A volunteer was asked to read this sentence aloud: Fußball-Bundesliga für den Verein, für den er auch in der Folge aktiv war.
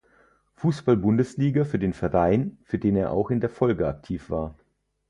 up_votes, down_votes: 4, 0